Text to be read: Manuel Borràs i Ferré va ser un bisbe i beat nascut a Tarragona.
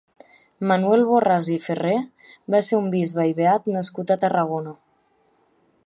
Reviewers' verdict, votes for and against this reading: accepted, 2, 0